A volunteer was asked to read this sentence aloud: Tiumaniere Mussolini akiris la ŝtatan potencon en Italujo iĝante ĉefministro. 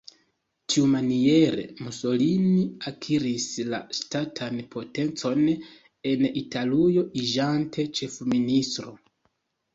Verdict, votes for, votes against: accepted, 2, 0